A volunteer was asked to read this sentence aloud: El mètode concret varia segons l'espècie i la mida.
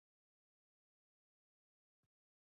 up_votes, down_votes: 0, 2